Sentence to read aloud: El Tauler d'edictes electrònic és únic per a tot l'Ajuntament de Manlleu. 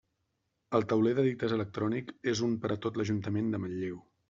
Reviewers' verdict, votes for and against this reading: accepted, 2, 0